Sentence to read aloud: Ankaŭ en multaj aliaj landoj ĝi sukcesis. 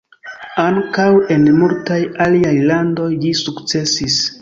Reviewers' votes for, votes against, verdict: 2, 0, accepted